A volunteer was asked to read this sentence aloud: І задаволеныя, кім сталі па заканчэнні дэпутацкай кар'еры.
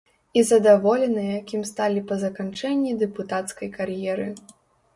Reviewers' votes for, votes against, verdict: 2, 0, accepted